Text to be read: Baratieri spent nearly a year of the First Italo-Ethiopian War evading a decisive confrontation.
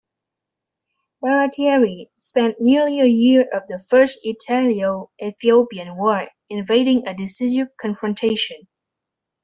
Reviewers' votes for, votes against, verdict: 0, 2, rejected